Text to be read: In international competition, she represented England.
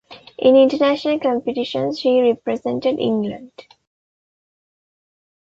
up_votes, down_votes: 2, 0